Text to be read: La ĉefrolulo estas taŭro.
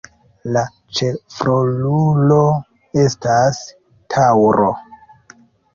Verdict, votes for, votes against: rejected, 0, 2